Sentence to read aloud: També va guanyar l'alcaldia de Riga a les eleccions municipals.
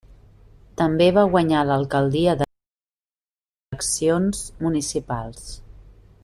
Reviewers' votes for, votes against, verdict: 0, 2, rejected